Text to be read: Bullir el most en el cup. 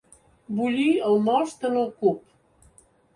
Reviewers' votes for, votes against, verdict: 2, 0, accepted